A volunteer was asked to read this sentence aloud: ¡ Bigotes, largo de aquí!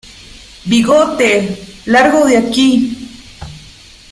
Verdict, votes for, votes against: accepted, 2, 0